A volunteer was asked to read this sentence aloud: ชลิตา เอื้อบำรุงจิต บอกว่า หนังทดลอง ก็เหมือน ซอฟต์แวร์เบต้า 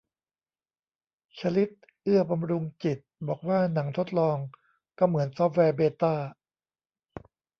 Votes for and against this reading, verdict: 0, 2, rejected